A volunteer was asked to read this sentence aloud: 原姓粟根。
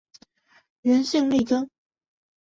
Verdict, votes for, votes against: accepted, 3, 0